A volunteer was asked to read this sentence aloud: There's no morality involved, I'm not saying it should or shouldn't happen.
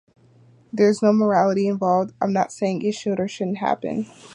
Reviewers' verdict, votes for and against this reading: accepted, 2, 0